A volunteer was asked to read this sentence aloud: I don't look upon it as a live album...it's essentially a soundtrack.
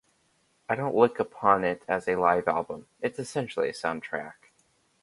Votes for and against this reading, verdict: 2, 0, accepted